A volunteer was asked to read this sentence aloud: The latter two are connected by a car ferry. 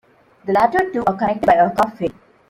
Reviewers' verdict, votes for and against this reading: rejected, 0, 2